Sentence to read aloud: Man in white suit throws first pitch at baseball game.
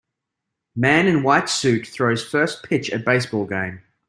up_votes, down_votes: 2, 0